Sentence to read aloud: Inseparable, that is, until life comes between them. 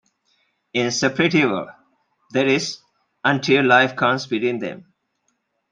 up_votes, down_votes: 1, 2